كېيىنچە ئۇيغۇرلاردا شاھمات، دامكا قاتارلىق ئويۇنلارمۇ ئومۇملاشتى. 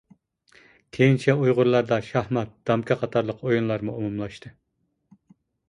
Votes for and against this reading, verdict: 2, 0, accepted